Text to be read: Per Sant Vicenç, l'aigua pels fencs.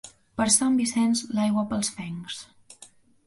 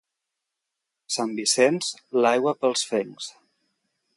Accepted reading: first